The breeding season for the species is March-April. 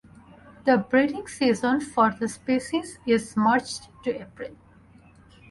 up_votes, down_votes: 2, 0